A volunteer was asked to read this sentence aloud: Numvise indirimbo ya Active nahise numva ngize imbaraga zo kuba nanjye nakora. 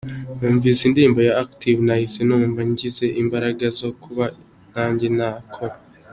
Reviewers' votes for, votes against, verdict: 2, 0, accepted